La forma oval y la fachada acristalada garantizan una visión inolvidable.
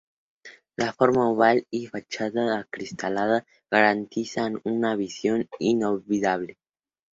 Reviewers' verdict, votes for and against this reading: rejected, 2, 2